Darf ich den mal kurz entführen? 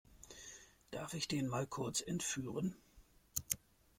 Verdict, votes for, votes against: accepted, 2, 0